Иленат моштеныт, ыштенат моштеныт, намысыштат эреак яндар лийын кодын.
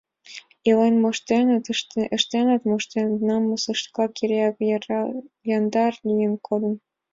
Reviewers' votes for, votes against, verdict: 0, 4, rejected